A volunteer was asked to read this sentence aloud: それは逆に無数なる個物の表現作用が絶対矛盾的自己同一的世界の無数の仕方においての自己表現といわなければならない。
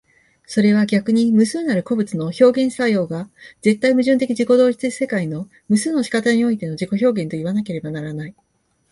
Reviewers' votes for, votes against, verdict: 2, 0, accepted